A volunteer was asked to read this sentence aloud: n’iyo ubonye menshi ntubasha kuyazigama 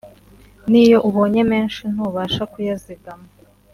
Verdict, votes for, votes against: accepted, 2, 0